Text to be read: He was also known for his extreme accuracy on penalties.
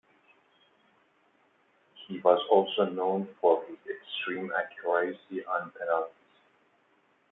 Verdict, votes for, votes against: rejected, 1, 2